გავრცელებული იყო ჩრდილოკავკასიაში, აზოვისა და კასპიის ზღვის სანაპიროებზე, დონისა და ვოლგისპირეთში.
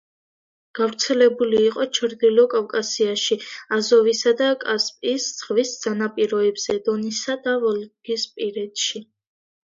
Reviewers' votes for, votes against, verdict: 2, 0, accepted